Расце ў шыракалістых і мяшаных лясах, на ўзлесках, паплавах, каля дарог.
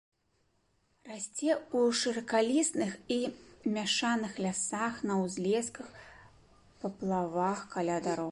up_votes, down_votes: 1, 3